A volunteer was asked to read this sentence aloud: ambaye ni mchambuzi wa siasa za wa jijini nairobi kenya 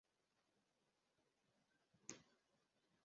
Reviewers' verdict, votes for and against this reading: rejected, 0, 2